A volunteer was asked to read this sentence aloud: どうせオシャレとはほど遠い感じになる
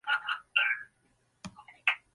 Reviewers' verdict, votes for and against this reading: rejected, 0, 2